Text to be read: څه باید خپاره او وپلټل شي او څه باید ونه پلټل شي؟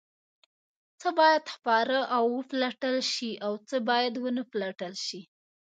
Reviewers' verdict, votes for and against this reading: accepted, 2, 0